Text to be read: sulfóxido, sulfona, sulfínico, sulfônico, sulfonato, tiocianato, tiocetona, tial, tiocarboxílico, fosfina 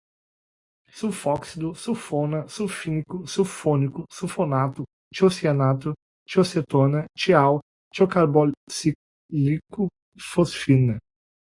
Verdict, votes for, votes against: rejected, 0, 2